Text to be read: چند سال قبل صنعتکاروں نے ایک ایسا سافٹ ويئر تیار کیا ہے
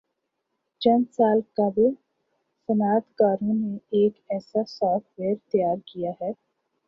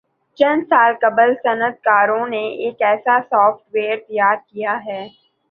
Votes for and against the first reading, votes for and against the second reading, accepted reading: 11, 4, 2, 2, first